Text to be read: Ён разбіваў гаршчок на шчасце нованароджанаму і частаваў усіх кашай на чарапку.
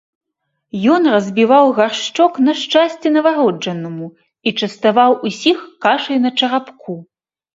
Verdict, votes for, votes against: accepted, 2, 0